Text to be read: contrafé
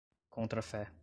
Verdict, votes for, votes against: accepted, 2, 0